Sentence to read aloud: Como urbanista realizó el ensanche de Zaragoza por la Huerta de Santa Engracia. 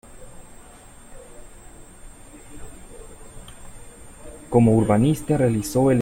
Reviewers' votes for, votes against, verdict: 0, 2, rejected